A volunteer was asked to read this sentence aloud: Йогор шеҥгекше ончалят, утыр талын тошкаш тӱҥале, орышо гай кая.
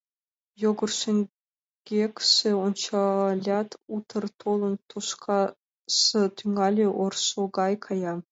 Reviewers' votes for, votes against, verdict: 1, 2, rejected